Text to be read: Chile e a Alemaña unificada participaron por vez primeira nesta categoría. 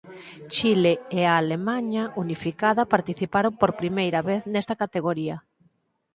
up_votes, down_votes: 4, 0